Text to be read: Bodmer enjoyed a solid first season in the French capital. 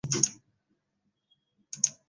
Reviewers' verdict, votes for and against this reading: rejected, 0, 2